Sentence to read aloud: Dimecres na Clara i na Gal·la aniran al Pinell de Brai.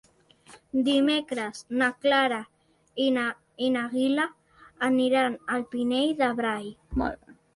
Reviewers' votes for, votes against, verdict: 1, 2, rejected